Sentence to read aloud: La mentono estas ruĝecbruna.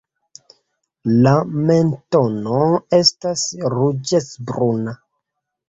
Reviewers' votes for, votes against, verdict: 2, 1, accepted